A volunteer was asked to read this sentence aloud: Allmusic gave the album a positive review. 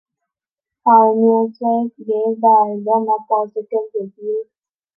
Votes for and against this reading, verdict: 2, 0, accepted